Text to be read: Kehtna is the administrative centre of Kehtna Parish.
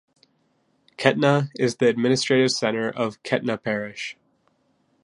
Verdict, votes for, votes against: accepted, 2, 0